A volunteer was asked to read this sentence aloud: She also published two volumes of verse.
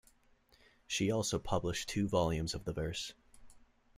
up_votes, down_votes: 1, 2